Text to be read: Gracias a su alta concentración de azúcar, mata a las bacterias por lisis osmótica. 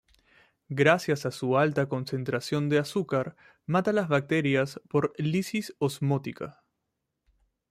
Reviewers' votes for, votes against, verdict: 2, 0, accepted